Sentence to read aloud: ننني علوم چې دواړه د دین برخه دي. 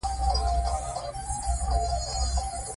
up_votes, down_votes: 0, 2